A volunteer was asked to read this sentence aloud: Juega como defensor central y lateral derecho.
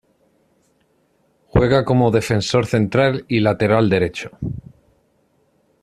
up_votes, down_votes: 2, 0